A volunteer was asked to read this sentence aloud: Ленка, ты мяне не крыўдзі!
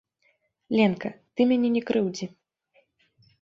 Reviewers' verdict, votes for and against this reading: accepted, 2, 0